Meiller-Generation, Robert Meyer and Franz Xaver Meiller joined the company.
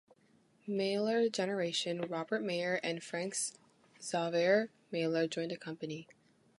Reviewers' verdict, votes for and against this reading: accepted, 2, 1